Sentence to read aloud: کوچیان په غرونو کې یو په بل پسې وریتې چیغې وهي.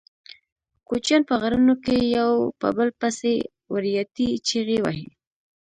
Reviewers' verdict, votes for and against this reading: rejected, 1, 2